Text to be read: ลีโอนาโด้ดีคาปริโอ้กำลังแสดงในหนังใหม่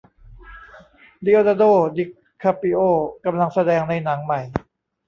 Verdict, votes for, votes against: rejected, 1, 2